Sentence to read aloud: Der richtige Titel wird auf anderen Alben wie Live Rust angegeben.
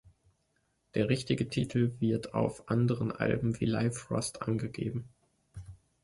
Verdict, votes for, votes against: accepted, 2, 0